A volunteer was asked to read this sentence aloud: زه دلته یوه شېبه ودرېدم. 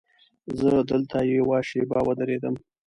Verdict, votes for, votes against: accepted, 2, 0